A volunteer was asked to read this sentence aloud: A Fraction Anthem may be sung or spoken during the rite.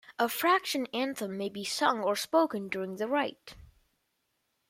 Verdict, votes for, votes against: accepted, 2, 0